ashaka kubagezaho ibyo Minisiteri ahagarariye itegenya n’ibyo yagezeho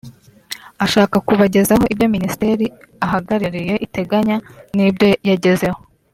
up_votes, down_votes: 2, 0